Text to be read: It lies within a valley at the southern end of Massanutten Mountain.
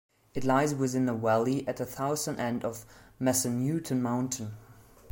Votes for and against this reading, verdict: 0, 2, rejected